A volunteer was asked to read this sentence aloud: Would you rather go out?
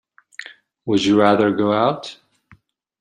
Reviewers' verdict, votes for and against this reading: accepted, 2, 0